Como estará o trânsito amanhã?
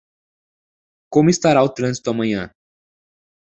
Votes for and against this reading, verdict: 2, 0, accepted